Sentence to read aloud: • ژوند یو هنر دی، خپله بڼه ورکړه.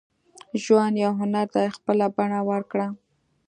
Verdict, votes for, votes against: accepted, 2, 0